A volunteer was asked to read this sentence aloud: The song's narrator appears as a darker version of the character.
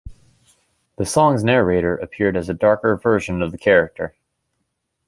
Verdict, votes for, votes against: rejected, 0, 2